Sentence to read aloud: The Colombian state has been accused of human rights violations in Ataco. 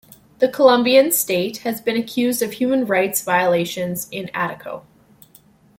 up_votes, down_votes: 2, 0